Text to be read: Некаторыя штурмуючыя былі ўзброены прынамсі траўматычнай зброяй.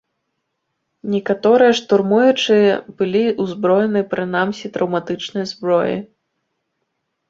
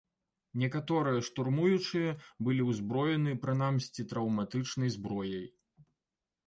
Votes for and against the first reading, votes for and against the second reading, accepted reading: 2, 1, 0, 2, first